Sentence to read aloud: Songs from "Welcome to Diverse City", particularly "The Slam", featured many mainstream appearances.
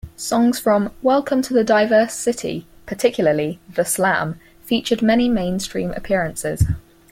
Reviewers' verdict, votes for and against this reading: accepted, 4, 0